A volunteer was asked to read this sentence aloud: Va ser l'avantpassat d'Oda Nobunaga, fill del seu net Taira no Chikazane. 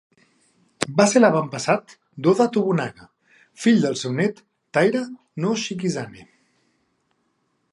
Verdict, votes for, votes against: rejected, 1, 2